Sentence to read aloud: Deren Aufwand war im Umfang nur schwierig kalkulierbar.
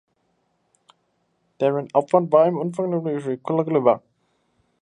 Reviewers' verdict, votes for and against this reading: rejected, 0, 3